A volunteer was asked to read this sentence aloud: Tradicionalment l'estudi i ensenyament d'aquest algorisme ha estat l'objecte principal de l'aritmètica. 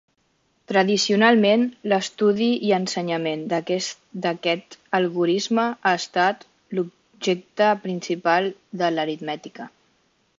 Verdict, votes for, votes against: rejected, 1, 2